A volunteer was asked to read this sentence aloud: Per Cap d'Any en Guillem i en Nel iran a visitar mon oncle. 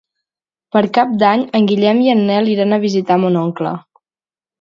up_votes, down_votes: 4, 0